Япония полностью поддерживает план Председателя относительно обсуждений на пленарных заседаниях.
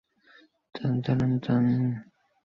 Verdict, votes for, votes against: rejected, 0, 2